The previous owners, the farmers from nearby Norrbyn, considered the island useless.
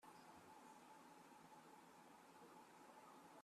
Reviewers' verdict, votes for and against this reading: rejected, 0, 2